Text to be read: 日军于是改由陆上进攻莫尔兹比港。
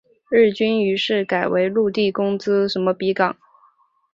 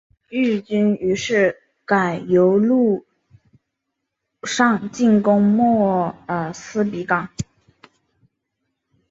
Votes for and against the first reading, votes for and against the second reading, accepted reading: 0, 2, 3, 0, second